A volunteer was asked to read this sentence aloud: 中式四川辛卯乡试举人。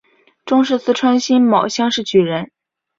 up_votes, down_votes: 2, 0